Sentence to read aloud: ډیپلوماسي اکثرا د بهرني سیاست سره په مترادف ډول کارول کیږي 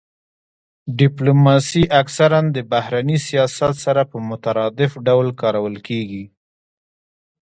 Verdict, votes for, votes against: accepted, 2, 0